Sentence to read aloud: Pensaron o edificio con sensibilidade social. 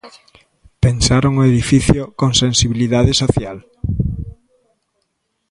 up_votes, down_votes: 2, 0